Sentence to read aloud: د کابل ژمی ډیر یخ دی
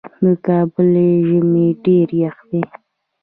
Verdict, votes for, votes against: accepted, 2, 0